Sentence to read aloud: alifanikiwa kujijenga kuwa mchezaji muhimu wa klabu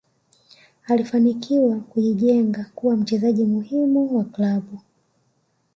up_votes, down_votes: 1, 2